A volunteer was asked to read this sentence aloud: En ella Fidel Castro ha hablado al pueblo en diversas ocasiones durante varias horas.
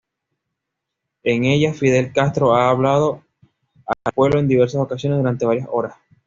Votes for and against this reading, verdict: 2, 1, accepted